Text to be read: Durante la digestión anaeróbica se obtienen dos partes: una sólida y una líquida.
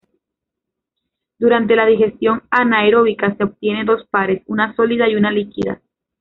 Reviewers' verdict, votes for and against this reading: rejected, 0, 2